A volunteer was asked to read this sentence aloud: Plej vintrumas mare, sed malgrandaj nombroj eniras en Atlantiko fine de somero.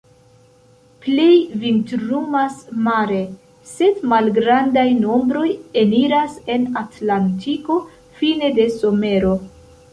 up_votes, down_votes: 1, 2